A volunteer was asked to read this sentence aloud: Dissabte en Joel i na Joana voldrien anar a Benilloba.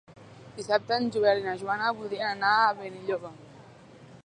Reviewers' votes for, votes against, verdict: 2, 0, accepted